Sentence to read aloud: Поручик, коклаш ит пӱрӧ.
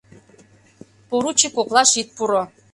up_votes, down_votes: 0, 2